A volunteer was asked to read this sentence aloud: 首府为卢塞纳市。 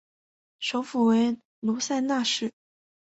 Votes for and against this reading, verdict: 5, 0, accepted